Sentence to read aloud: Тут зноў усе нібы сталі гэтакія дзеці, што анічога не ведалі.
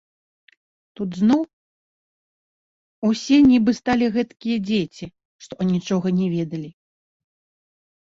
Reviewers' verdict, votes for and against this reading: rejected, 1, 2